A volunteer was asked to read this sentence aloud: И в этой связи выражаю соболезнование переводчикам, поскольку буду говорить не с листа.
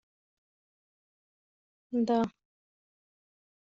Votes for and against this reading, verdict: 0, 2, rejected